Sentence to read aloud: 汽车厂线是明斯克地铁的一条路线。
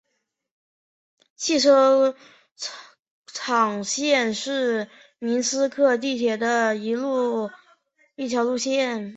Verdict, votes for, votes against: rejected, 1, 2